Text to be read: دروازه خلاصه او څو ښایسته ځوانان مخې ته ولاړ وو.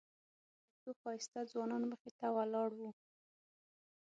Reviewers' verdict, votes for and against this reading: rejected, 0, 6